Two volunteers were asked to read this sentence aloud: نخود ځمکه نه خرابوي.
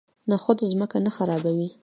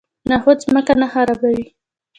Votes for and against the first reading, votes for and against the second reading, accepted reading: 2, 0, 0, 2, first